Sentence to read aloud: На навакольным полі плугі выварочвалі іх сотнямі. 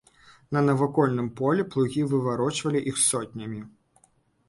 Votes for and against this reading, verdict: 3, 0, accepted